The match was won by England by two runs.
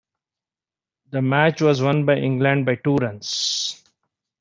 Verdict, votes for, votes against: accepted, 2, 0